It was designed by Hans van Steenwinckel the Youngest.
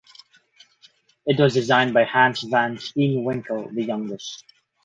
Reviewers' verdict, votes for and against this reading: accepted, 2, 0